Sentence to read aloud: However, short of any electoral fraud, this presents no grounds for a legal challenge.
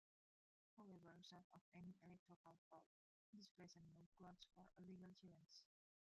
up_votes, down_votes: 1, 2